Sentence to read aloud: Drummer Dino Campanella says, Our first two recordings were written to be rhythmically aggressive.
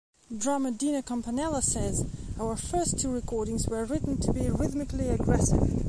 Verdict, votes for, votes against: accepted, 2, 0